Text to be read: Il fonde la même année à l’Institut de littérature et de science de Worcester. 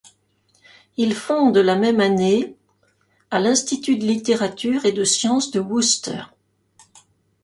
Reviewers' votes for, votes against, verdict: 1, 2, rejected